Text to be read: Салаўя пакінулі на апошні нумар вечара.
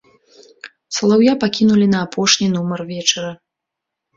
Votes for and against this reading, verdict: 2, 0, accepted